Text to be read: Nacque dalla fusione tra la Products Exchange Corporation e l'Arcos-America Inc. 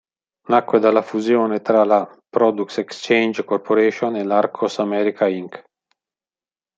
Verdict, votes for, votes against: accepted, 2, 1